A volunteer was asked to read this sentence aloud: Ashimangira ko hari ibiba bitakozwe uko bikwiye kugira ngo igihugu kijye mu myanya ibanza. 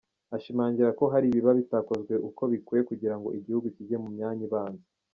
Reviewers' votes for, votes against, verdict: 2, 0, accepted